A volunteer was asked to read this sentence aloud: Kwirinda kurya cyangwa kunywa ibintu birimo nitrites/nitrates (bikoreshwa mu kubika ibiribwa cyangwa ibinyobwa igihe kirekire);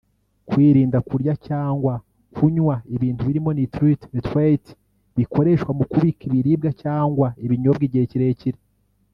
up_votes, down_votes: 1, 2